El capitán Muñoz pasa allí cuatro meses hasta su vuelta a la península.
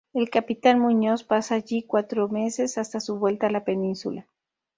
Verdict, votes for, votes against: accepted, 2, 0